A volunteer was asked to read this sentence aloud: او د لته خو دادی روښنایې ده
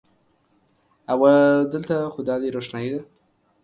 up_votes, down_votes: 1, 2